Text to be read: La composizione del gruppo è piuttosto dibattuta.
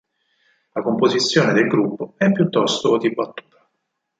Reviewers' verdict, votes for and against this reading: rejected, 2, 4